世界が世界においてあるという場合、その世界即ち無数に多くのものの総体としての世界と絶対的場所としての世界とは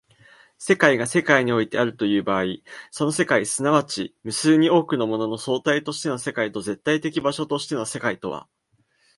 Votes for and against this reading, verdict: 3, 1, accepted